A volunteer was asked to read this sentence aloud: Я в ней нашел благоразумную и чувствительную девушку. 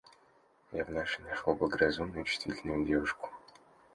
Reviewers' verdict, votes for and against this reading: rejected, 1, 2